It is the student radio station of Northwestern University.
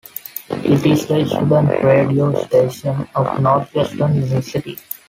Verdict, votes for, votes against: accepted, 2, 1